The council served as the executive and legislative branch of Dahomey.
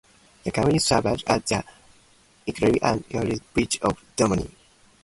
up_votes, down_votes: 0, 2